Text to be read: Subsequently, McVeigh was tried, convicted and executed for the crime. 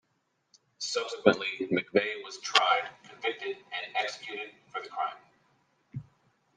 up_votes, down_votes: 2, 0